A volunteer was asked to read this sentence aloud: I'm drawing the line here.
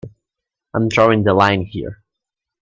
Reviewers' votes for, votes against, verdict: 2, 0, accepted